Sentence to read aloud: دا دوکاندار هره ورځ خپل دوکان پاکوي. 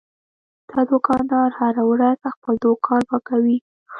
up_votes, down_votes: 1, 2